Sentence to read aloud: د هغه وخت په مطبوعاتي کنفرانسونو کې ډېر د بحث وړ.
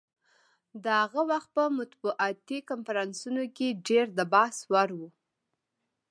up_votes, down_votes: 2, 0